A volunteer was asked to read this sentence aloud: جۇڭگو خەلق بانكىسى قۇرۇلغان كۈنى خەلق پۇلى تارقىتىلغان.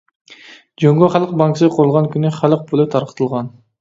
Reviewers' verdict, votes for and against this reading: rejected, 1, 2